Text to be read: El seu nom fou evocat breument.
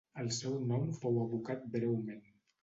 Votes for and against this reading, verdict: 0, 2, rejected